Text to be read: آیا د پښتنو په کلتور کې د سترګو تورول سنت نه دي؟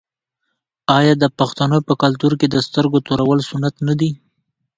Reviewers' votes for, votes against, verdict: 2, 0, accepted